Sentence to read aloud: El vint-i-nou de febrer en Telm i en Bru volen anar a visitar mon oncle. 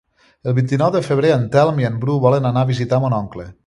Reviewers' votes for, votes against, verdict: 3, 0, accepted